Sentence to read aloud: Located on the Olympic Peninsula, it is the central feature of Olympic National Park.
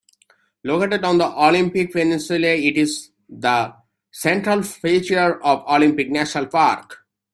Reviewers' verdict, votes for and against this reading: accepted, 2, 1